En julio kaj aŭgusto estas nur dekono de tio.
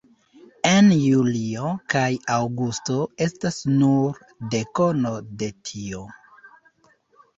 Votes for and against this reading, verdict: 2, 1, accepted